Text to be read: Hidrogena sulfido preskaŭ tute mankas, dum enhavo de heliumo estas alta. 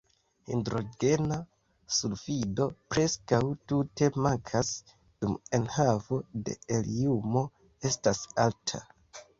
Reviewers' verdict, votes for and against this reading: accepted, 2, 0